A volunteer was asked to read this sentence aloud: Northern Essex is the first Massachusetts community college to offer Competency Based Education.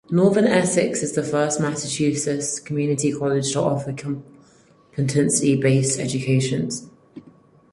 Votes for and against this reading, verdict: 0, 4, rejected